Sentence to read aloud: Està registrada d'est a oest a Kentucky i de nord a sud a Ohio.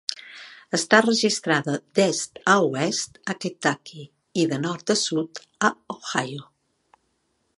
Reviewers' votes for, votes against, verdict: 3, 0, accepted